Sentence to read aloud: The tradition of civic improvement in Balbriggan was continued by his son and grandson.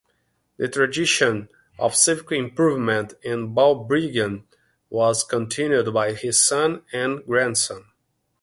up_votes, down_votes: 2, 0